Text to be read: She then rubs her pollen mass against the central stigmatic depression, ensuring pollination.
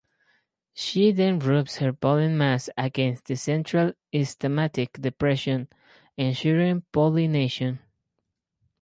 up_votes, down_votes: 0, 4